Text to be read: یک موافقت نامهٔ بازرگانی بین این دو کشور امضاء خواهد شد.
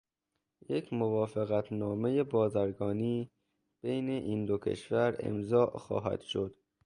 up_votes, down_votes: 2, 0